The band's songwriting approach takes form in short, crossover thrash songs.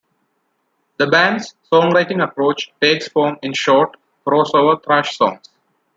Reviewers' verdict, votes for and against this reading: accepted, 2, 0